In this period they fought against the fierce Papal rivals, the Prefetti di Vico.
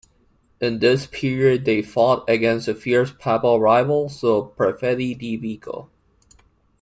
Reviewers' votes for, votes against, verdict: 1, 2, rejected